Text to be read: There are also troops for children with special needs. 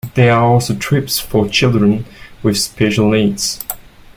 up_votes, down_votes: 2, 0